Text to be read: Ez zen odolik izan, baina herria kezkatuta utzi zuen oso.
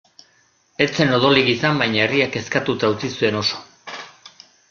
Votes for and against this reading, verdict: 2, 0, accepted